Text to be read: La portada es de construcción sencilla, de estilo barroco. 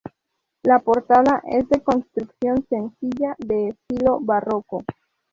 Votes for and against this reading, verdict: 2, 0, accepted